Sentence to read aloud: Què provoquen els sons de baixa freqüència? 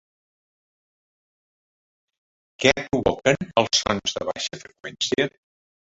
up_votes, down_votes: 0, 3